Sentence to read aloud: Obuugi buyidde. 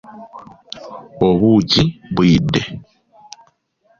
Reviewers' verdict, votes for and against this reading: accepted, 2, 0